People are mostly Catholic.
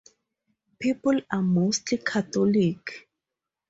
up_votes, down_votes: 4, 2